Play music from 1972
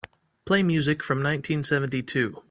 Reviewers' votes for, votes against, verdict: 0, 2, rejected